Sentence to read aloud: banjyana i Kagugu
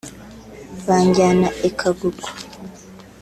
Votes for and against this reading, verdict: 2, 0, accepted